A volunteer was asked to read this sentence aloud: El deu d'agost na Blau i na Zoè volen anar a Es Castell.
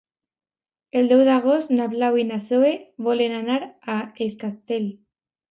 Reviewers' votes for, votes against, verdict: 0, 2, rejected